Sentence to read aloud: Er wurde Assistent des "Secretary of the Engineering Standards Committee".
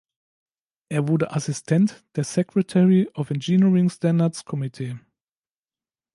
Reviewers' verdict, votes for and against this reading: rejected, 0, 2